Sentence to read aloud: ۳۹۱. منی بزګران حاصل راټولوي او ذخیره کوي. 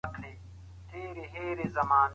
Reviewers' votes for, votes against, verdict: 0, 2, rejected